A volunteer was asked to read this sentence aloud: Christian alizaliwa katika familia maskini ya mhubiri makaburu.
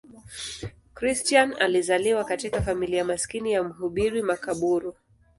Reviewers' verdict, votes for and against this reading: accepted, 3, 2